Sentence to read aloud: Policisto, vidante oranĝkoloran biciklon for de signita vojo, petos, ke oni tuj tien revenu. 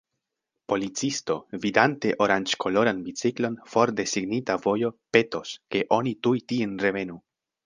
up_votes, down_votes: 2, 0